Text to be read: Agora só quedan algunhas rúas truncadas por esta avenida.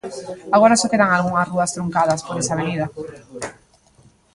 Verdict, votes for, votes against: rejected, 0, 2